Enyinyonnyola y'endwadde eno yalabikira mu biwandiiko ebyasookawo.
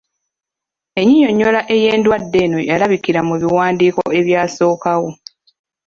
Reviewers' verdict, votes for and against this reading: rejected, 0, 2